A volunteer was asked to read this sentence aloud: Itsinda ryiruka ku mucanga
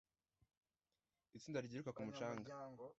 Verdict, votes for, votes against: accepted, 2, 0